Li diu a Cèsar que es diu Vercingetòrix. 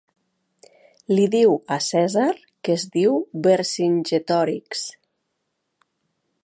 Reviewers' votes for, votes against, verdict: 2, 1, accepted